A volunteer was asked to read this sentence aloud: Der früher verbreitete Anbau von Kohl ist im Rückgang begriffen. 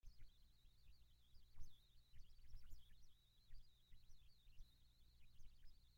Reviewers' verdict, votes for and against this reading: rejected, 0, 2